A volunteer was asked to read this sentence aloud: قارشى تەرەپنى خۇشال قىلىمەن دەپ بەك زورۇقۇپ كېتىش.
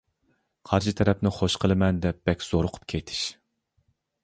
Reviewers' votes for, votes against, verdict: 1, 2, rejected